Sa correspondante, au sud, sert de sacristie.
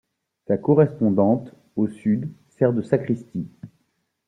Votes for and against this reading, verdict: 2, 0, accepted